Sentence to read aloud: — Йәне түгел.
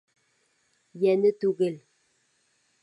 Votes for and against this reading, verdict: 2, 0, accepted